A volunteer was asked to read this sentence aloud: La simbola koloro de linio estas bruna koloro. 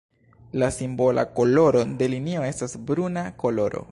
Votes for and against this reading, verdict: 0, 2, rejected